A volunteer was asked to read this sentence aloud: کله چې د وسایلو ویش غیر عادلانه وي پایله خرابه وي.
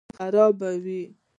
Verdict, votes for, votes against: rejected, 0, 2